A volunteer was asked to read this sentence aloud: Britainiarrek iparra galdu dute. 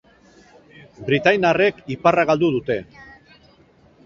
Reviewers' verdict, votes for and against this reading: accepted, 4, 0